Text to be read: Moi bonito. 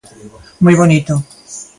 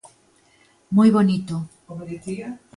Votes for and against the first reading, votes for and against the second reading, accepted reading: 2, 0, 1, 2, first